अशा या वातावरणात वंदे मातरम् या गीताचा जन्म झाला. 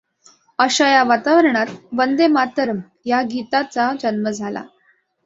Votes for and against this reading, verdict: 2, 0, accepted